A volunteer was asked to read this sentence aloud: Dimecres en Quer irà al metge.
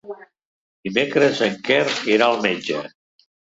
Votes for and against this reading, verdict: 1, 3, rejected